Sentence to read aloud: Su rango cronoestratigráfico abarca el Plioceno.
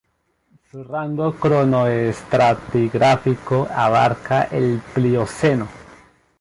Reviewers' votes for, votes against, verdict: 0, 2, rejected